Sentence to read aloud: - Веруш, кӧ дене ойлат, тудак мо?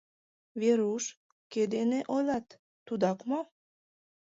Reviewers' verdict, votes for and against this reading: rejected, 1, 4